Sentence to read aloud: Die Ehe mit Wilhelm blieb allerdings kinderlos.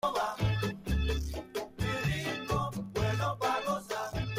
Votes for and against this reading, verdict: 0, 2, rejected